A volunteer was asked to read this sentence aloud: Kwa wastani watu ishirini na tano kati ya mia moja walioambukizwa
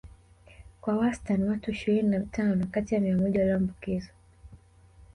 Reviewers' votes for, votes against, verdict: 2, 3, rejected